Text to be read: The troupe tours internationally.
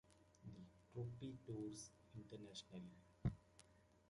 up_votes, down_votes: 1, 2